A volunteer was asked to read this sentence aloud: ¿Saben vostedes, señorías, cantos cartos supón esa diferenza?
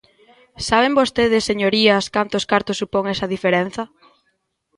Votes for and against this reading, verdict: 2, 0, accepted